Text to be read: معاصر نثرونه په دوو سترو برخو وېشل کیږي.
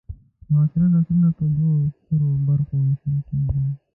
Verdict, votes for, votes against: rejected, 0, 2